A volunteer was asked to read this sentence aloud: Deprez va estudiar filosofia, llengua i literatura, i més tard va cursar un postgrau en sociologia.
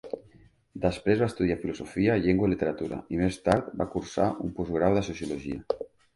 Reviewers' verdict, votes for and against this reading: rejected, 1, 2